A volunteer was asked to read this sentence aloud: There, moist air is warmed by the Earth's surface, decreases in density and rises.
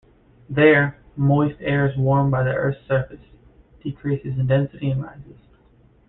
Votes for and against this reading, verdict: 2, 1, accepted